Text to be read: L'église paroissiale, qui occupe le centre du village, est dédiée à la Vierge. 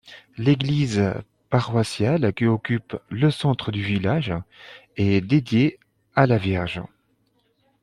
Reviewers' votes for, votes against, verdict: 2, 0, accepted